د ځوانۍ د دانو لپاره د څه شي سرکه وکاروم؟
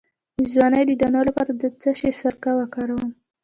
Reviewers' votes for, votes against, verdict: 1, 2, rejected